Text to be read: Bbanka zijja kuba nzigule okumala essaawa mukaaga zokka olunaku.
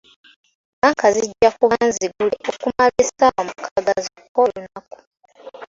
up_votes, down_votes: 3, 2